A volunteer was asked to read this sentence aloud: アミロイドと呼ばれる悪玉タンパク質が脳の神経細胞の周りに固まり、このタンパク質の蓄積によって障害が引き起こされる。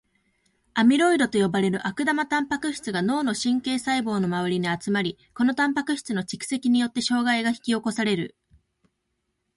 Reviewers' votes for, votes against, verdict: 0, 2, rejected